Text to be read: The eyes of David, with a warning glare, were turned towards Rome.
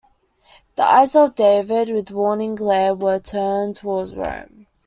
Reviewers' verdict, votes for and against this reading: rejected, 1, 2